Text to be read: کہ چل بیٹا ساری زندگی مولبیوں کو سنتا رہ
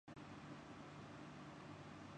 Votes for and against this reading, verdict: 0, 7, rejected